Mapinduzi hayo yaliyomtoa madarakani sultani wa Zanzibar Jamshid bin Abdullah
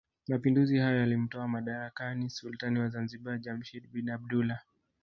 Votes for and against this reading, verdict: 1, 2, rejected